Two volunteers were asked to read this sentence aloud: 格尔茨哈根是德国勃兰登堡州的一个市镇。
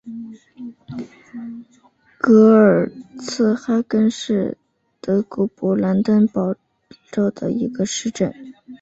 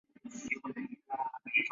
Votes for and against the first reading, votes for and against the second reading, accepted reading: 3, 0, 0, 2, first